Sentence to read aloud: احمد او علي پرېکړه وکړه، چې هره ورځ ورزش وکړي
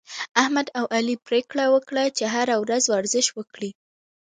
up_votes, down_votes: 2, 1